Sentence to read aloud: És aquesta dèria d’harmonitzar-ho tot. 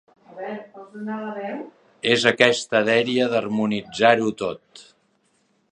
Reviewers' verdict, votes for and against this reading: rejected, 0, 2